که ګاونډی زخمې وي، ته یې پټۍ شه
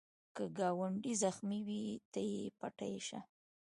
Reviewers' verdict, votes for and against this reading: rejected, 1, 2